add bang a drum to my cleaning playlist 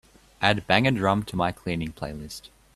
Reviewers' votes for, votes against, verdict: 2, 0, accepted